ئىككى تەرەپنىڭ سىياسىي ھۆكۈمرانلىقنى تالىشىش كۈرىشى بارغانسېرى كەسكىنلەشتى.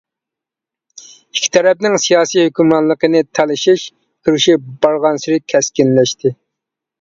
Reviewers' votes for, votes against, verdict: 1, 2, rejected